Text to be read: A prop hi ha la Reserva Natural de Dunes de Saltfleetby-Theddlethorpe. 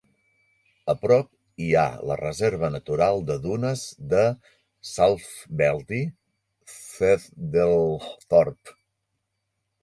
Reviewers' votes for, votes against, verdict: 2, 1, accepted